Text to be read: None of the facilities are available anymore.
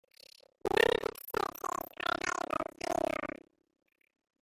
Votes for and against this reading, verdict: 0, 3, rejected